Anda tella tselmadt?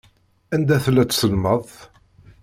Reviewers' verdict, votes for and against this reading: rejected, 1, 2